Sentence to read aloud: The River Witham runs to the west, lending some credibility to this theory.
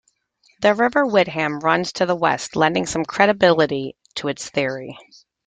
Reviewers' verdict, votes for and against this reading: rejected, 0, 2